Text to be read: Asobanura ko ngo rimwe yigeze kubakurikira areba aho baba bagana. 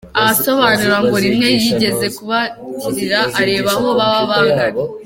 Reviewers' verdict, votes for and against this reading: rejected, 0, 2